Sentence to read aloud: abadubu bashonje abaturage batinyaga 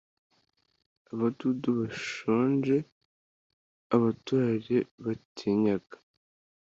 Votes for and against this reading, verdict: 2, 0, accepted